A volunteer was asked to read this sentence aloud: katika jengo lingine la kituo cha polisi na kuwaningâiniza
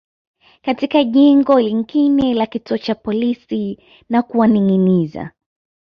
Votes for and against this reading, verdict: 0, 2, rejected